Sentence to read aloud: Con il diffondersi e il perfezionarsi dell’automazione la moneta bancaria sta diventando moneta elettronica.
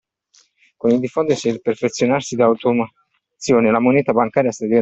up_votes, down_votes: 0, 2